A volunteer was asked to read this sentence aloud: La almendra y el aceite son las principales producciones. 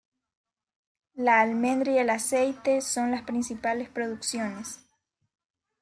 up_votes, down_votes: 2, 0